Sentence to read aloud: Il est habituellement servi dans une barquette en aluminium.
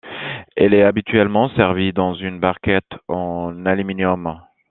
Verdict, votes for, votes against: rejected, 0, 2